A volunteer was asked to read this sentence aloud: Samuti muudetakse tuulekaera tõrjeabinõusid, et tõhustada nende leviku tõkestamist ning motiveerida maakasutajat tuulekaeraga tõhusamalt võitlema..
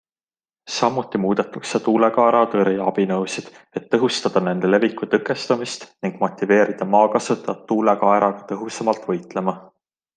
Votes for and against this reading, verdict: 2, 0, accepted